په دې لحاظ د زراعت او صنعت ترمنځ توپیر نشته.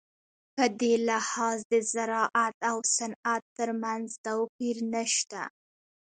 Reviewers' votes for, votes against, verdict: 1, 2, rejected